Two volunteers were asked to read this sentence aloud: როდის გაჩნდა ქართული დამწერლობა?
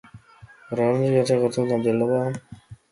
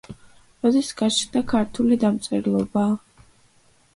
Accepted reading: second